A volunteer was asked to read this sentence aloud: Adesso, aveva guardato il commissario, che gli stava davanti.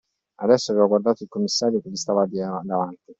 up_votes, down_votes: 1, 2